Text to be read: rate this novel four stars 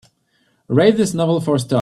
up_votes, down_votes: 0, 2